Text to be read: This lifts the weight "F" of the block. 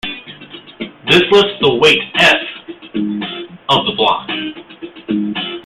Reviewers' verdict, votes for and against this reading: rejected, 0, 2